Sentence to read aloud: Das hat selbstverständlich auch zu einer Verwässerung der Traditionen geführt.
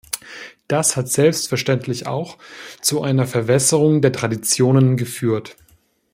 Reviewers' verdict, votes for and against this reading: accepted, 2, 0